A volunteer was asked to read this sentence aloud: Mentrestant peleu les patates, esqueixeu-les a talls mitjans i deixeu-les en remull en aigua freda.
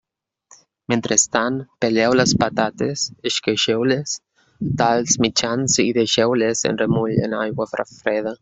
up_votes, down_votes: 1, 2